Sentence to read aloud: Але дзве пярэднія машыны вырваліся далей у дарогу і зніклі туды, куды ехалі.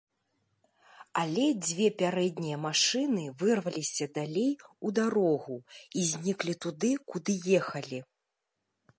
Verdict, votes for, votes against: accepted, 2, 0